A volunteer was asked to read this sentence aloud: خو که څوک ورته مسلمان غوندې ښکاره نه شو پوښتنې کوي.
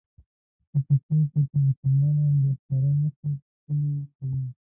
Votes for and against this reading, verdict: 1, 2, rejected